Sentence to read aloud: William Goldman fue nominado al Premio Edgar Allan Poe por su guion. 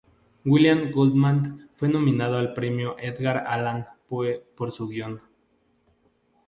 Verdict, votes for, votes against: accepted, 2, 0